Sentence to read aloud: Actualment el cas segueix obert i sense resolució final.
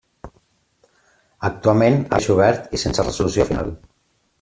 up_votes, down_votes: 1, 2